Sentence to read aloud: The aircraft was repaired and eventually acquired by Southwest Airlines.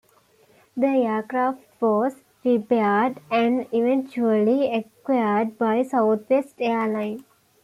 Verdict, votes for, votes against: accepted, 2, 0